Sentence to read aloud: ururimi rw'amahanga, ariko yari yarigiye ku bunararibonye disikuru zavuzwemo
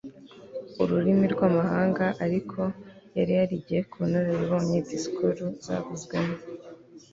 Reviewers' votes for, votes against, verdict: 2, 0, accepted